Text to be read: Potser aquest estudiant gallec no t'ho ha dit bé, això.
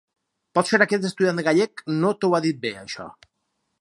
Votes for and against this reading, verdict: 4, 2, accepted